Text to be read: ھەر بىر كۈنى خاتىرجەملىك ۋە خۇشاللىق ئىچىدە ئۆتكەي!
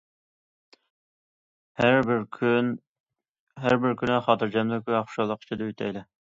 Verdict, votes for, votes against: rejected, 0, 2